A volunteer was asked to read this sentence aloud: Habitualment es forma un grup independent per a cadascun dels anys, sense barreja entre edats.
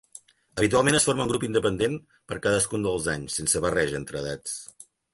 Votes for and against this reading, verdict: 2, 0, accepted